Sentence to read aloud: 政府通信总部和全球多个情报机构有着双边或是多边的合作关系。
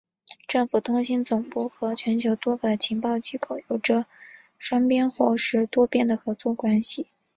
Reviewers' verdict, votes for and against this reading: accepted, 3, 1